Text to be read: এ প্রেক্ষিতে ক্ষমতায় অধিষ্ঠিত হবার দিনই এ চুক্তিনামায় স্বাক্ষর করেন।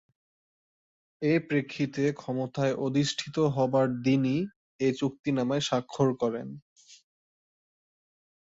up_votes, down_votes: 1, 2